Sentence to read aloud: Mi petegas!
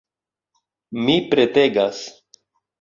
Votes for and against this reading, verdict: 0, 2, rejected